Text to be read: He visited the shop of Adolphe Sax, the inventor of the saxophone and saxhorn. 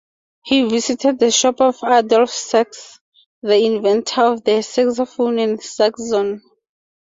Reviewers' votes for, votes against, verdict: 2, 0, accepted